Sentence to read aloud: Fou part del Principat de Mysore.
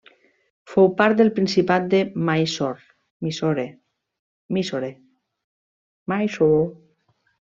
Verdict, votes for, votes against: rejected, 0, 2